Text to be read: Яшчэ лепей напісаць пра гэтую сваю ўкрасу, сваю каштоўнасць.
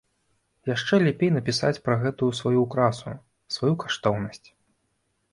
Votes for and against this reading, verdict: 0, 2, rejected